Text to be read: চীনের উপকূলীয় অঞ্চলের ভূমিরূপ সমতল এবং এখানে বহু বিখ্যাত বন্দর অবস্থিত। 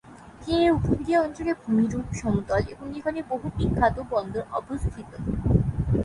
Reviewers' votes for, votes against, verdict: 0, 3, rejected